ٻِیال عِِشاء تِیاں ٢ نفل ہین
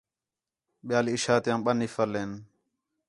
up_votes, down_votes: 0, 2